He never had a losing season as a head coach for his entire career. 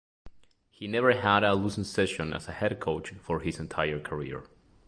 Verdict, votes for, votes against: rejected, 2, 3